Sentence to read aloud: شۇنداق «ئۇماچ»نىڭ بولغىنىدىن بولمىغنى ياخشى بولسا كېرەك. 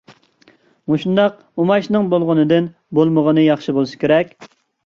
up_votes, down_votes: 1, 2